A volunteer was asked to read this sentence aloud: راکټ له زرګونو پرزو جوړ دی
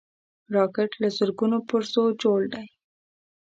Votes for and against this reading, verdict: 2, 0, accepted